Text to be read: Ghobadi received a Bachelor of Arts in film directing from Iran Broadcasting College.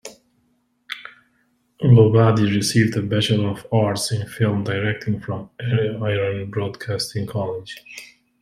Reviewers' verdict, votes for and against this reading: rejected, 0, 2